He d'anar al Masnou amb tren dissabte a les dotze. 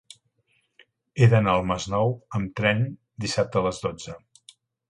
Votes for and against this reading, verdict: 2, 0, accepted